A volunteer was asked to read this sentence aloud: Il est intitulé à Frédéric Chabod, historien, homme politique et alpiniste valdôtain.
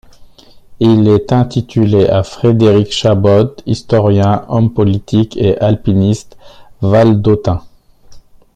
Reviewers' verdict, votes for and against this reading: accepted, 2, 1